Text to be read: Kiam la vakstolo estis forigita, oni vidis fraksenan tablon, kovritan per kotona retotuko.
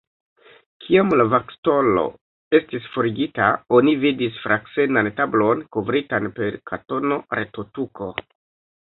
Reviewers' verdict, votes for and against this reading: rejected, 2, 3